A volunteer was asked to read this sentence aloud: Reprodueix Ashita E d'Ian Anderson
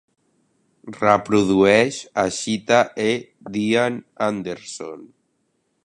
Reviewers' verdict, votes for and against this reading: accepted, 3, 0